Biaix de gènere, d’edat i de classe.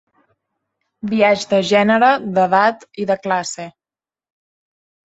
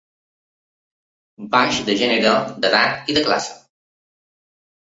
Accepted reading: first